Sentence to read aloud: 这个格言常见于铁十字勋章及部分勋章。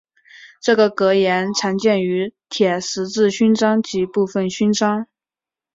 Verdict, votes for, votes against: accepted, 2, 0